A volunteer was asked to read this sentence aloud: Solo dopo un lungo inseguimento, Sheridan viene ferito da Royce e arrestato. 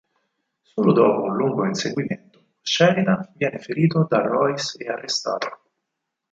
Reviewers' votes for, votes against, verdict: 4, 0, accepted